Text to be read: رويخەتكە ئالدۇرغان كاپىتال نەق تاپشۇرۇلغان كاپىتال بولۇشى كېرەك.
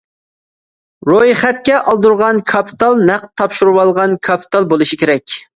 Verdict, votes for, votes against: rejected, 1, 2